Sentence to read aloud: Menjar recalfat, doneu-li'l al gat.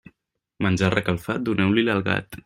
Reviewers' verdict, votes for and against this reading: accepted, 3, 1